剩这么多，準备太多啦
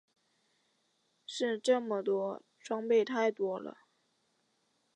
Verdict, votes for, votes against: accepted, 3, 2